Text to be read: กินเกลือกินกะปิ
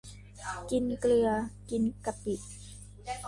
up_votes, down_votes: 2, 1